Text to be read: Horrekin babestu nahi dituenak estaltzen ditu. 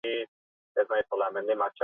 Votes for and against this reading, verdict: 0, 4, rejected